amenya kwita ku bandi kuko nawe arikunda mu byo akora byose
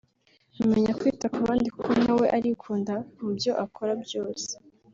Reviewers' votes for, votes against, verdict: 3, 0, accepted